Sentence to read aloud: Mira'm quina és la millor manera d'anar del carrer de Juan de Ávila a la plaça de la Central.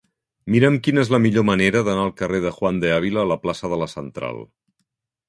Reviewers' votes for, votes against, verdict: 0, 2, rejected